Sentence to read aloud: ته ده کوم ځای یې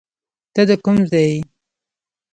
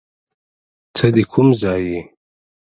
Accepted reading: second